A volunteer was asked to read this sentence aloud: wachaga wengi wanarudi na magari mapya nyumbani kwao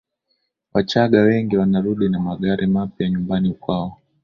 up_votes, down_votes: 12, 0